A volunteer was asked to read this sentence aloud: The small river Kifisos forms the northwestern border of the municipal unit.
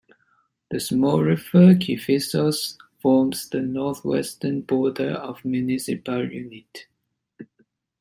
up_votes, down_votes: 2, 1